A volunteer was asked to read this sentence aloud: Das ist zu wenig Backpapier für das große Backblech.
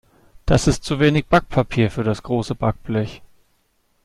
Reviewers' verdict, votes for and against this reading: accepted, 2, 0